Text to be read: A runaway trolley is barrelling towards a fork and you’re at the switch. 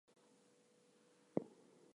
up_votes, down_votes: 0, 4